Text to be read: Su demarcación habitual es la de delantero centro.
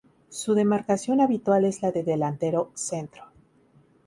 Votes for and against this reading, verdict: 2, 0, accepted